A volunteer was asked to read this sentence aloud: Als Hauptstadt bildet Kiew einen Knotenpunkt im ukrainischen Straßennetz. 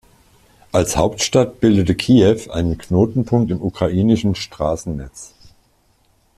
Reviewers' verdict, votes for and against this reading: rejected, 1, 2